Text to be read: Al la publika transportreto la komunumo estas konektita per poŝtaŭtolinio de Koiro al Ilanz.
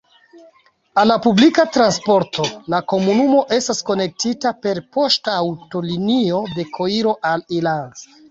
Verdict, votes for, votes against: accepted, 2, 1